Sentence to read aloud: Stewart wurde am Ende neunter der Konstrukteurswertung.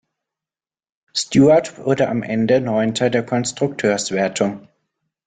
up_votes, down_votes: 2, 0